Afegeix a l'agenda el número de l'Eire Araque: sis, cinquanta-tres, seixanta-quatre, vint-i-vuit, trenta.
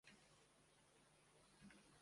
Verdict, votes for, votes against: rejected, 0, 2